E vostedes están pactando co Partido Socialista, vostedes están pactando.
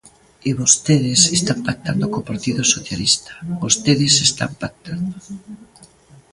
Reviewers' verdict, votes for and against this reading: accepted, 2, 0